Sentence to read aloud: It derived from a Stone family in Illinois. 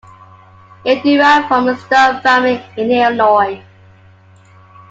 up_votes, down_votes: 2, 1